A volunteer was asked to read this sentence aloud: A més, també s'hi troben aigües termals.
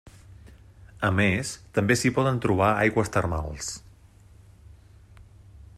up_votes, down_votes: 1, 2